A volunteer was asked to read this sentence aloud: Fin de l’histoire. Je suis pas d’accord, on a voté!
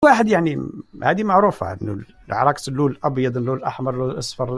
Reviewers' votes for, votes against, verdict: 0, 2, rejected